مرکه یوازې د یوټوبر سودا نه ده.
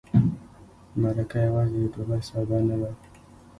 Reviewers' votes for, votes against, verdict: 1, 2, rejected